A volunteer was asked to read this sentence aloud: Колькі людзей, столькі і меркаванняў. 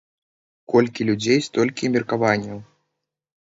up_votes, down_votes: 2, 0